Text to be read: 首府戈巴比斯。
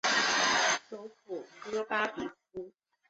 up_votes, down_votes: 1, 4